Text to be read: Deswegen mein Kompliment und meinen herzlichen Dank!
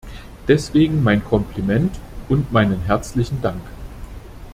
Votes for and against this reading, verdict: 2, 0, accepted